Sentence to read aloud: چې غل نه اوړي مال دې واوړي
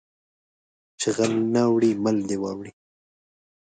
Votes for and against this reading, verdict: 2, 3, rejected